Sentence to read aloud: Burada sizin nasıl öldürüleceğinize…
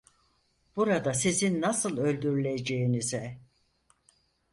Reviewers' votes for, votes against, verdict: 4, 0, accepted